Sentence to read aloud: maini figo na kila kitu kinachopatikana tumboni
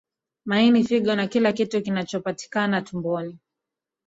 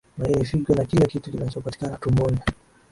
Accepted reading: second